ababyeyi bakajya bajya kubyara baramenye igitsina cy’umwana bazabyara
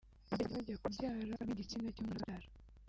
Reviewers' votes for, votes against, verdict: 1, 2, rejected